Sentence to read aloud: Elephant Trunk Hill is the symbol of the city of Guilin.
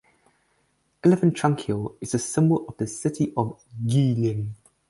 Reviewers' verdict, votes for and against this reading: accepted, 4, 0